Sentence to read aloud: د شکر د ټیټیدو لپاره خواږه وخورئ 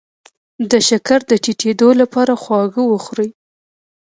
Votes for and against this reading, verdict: 0, 2, rejected